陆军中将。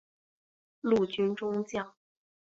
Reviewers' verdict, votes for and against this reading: accepted, 2, 0